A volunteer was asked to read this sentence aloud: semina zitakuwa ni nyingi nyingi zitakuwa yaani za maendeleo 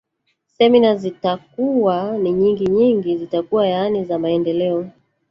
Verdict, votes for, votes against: rejected, 0, 3